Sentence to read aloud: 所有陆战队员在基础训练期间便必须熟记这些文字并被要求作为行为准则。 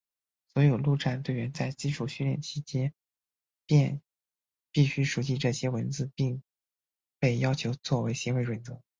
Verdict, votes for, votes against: rejected, 0, 2